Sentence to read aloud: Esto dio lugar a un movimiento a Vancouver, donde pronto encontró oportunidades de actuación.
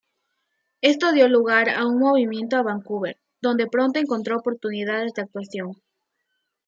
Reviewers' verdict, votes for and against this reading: rejected, 1, 2